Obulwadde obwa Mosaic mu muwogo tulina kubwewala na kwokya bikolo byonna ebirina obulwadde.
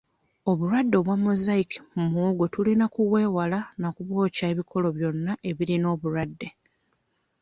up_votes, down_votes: 1, 2